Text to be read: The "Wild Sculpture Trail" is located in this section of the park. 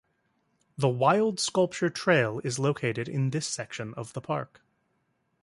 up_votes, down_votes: 2, 0